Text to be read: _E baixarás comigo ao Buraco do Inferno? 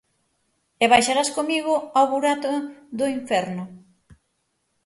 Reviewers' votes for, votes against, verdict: 0, 6, rejected